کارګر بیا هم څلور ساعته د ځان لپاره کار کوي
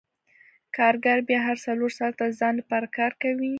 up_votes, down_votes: 2, 0